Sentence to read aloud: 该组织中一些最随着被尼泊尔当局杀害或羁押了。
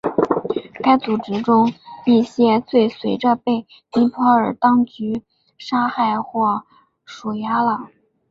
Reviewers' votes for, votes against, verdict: 1, 2, rejected